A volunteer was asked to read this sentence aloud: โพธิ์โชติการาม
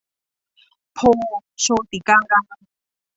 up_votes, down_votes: 0, 2